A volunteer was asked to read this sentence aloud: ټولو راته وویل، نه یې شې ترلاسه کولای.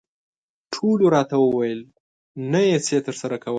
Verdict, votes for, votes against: rejected, 1, 2